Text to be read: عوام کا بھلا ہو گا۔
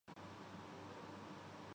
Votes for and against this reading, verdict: 0, 2, rejected